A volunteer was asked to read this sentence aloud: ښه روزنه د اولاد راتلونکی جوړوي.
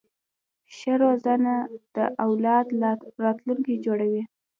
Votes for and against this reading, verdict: 2, 0, accepted